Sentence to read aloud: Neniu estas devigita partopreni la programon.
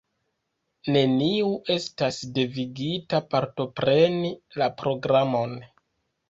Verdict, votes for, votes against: accepted, 2, 1